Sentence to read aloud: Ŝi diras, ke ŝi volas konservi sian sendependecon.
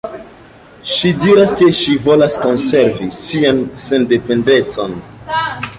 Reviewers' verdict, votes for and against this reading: accepted, 2, 1